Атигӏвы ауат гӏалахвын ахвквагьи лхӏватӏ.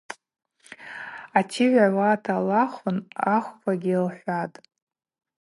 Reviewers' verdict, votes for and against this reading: rejected, 0, 2